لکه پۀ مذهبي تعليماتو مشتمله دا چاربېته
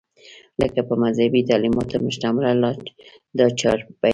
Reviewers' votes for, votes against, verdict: 1, 2, rejected